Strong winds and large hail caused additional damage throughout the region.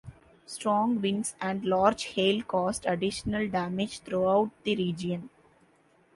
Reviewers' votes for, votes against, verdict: 3, 0, accepted